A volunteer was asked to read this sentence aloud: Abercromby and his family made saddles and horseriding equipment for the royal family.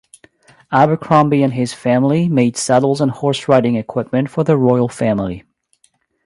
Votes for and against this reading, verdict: 3, 0, accepted